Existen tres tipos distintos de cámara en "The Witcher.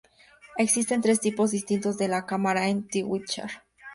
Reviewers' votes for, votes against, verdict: 2, 0, accepted